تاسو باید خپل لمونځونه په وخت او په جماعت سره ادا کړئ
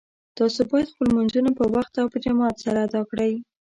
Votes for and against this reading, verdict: 0, 2, rejected